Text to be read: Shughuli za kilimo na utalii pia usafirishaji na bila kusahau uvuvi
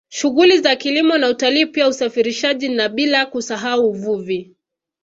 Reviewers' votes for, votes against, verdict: 3, 0, accepted